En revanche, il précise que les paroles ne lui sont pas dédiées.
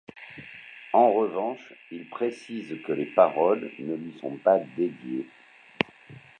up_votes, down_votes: 1, 2